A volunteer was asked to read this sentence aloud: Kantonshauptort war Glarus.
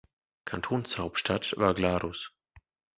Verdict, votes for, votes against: rejected, 0, 2